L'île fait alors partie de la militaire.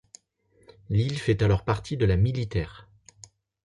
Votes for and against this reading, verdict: 2, 0, accepted